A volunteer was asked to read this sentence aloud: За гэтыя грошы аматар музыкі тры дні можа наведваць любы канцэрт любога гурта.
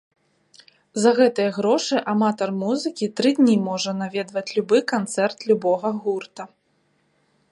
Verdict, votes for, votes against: accepted, 3, 0